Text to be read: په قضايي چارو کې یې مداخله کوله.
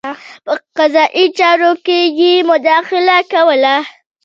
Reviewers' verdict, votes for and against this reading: accepted, 2, 0